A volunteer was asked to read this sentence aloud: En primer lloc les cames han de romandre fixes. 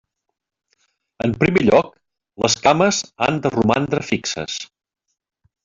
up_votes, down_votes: 0, 2